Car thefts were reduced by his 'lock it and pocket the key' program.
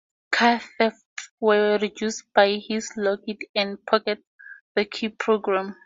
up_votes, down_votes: 4, 0